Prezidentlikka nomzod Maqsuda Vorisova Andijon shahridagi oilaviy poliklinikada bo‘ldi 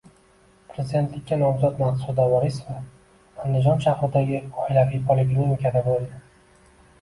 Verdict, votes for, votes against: rejected, 1, 2